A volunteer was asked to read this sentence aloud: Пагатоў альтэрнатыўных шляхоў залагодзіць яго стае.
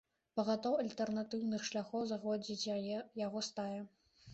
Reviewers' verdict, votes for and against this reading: rejected, 0, 2